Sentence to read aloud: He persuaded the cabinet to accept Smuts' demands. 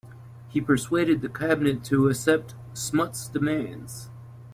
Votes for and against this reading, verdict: 2, 0, accepted